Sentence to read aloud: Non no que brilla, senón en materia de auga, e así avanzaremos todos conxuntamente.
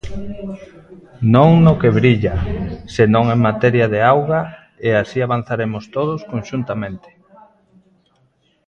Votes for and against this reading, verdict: 2, 0, accepted